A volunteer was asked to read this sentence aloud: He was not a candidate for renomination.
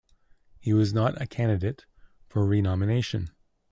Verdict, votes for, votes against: accepted, 2, 0